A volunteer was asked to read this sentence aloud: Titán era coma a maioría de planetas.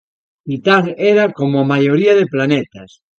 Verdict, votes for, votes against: rejected, 0, 2